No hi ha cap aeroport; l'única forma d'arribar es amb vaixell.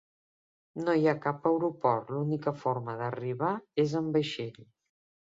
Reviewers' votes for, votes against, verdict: 3, 0, accepted